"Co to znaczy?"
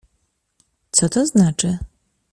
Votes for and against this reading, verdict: 2, 0, accepted